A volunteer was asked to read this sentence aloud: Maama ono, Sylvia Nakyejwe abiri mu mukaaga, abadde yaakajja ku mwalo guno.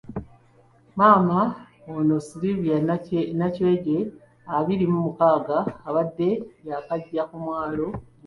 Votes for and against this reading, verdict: 1, 2, rejected